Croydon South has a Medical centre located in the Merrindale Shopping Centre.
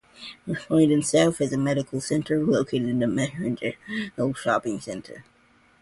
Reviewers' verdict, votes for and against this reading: rejected, 0, 2